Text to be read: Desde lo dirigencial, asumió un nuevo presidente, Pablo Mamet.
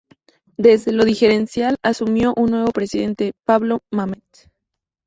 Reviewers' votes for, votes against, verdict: 2, 0, accepted